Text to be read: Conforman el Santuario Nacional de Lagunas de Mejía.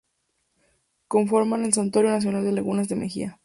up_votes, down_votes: 4, 0